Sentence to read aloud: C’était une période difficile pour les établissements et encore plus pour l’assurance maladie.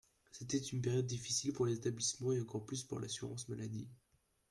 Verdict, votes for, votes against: accepted, 2, 1